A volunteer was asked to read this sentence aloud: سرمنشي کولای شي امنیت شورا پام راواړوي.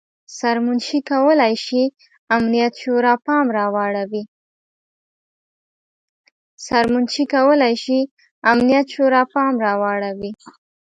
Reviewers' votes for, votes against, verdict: 1, 2, rejected